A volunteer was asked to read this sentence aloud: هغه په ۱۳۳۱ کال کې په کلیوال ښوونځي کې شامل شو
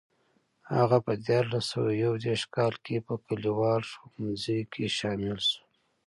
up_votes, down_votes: 0, 2